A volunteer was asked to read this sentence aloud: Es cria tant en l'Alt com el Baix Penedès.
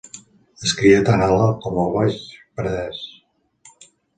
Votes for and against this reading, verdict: 2, 1, accepted